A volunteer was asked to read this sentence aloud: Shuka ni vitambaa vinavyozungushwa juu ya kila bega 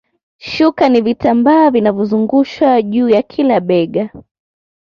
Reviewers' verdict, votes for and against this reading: accepted, 2, 1